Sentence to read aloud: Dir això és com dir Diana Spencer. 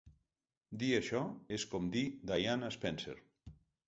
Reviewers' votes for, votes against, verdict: 2, 0, accepted